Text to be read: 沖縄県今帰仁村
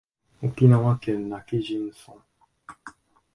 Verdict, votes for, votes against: accepted, 2, 0